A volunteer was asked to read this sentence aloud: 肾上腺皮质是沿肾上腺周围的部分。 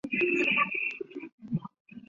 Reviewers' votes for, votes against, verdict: 0, 2, rejected